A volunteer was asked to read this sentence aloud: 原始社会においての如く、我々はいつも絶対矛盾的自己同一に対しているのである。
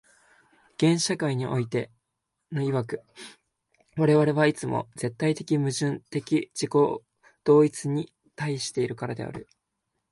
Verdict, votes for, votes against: rejected, 0, 2